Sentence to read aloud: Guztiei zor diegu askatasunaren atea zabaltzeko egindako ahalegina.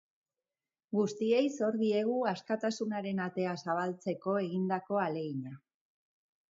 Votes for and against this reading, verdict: 2, 0, accepted